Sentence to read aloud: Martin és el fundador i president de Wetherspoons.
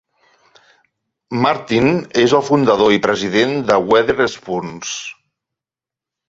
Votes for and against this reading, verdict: 2, 0, accepted